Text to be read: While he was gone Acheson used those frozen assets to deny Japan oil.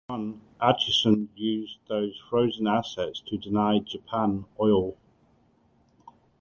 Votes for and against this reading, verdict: 1, 2, rejected